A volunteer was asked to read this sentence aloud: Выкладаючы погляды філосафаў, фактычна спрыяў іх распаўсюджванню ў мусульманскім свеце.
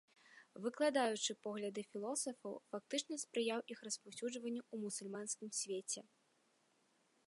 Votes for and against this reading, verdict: 2, 0, accepted